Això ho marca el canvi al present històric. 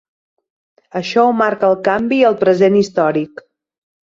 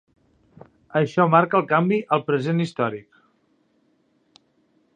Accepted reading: first